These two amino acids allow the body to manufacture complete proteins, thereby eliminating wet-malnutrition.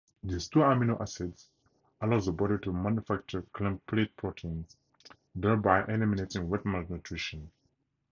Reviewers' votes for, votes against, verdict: 0, 2, rejected